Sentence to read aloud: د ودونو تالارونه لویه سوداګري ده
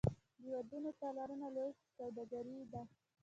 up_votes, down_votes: 2, 1